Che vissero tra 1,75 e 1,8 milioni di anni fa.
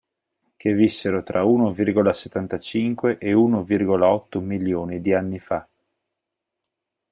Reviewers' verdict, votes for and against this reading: rejected, 0, 2